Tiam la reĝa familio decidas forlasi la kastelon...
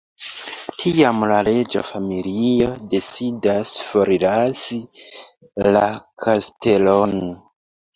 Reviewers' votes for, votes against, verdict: 1, 2, rejected